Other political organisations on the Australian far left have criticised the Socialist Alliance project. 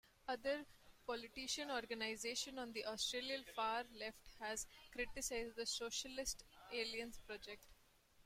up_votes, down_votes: 0, 2